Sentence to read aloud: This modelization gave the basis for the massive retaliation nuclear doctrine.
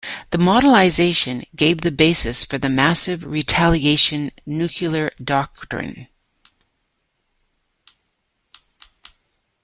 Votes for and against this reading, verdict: 1, 2, rejected